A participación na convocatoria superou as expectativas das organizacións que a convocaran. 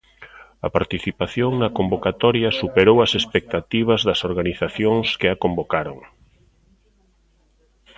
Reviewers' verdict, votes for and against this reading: rejected, 0, 2